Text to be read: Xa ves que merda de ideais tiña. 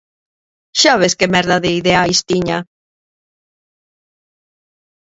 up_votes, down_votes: 0, 2